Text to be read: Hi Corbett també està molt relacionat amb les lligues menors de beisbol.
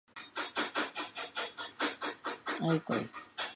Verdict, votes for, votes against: rejected, 0, 2